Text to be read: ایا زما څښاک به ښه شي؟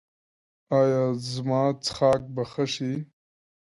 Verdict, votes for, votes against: accepted, 2, 0